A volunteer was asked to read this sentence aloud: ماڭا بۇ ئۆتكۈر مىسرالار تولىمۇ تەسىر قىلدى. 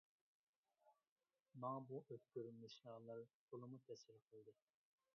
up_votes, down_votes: 0, 2